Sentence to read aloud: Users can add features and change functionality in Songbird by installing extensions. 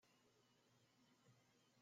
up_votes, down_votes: 0, 2